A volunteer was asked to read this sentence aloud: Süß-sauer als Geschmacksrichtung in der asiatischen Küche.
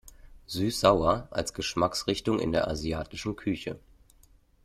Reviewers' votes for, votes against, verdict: 2, 0, accepted